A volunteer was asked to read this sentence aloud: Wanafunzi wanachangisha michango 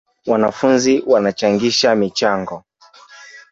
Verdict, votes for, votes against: accepted, 3, 1